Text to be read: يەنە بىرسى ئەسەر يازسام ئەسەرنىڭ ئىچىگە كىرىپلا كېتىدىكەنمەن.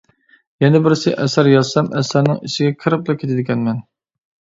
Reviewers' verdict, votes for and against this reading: accepted, 2, 0